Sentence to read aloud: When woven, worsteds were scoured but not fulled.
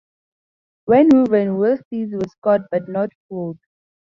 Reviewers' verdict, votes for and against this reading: accepted, 2, 0